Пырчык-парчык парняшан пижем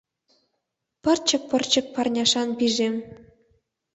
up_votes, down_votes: 0, 2